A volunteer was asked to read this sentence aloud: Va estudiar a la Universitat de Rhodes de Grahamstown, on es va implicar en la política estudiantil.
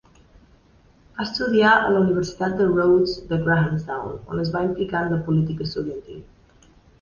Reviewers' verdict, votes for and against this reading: rejected, 0, 2